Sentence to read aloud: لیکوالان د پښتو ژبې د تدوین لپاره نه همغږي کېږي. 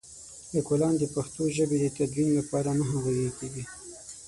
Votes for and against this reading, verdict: 3, 6, rejected